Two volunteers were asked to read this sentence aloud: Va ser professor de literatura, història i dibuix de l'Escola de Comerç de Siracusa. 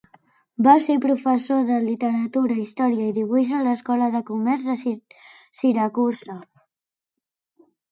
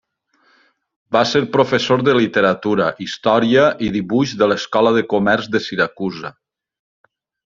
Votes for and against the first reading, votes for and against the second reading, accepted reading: 0, 2, 3, 0, second